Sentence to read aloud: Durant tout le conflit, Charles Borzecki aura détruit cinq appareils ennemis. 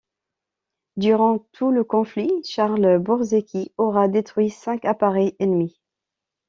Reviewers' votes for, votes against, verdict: 2, 0, accepted